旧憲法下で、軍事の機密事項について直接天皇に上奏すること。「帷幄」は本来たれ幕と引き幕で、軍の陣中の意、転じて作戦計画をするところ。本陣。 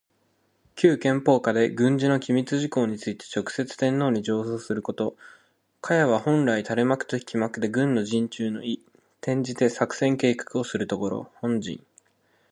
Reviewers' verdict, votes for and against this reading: rejected, 1, 2